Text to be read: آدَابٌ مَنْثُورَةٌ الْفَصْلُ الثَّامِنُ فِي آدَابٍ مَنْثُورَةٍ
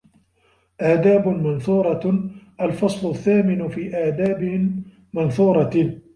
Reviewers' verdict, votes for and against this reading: rejected, 1, 2